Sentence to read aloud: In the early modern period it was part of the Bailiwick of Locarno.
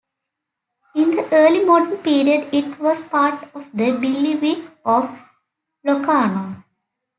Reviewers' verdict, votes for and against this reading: accepted, 2, 1